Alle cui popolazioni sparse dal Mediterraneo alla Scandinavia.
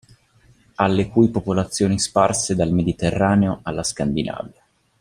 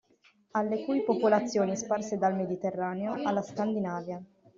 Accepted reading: first